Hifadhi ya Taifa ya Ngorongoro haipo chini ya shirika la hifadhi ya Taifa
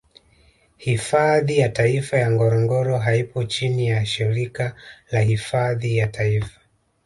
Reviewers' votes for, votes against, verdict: 1, 2, rejected